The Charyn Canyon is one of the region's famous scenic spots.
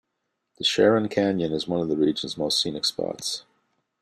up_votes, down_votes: 0, 2